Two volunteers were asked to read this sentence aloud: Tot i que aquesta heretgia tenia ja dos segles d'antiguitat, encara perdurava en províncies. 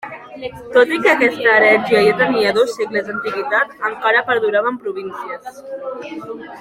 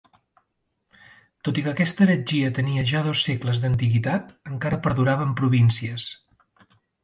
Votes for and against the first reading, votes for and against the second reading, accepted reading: 1, 2, 3, 0, second